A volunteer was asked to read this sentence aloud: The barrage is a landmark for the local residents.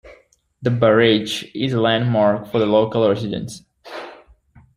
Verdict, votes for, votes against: accepted, 2, 0